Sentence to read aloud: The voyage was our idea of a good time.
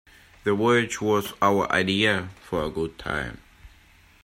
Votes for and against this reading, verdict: 1, 2, rejected